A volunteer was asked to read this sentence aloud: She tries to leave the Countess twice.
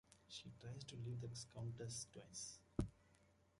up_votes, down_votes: 1, 2